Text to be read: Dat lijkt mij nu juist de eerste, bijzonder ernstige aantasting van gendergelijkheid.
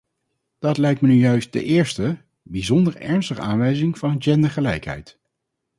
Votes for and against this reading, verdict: 0, 4, rejected